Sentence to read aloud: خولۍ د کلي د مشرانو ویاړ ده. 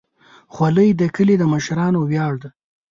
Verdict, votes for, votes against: accepted, 2, 0